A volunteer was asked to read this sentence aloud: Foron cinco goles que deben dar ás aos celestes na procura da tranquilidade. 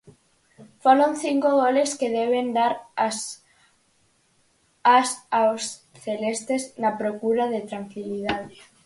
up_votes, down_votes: 0, 4